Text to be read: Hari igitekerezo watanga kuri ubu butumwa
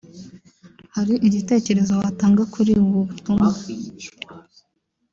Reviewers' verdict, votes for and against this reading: rejected, 0, 2